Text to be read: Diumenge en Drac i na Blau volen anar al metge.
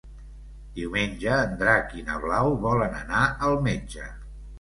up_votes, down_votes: 2, 0